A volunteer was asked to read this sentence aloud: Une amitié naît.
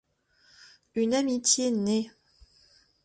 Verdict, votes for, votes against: accepted, 2, 0